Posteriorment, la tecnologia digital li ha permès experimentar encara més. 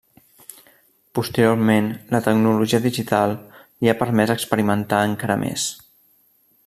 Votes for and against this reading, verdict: 3, 0, accepted